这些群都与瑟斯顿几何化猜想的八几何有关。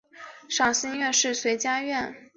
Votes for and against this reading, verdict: 1, 2, rejected